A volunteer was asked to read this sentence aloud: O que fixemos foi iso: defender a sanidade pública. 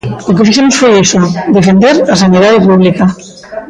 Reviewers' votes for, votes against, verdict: 1, 2, rejected